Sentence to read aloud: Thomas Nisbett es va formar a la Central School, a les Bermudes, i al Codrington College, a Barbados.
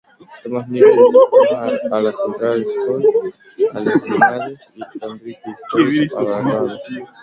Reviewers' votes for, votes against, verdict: 0, 2, rejected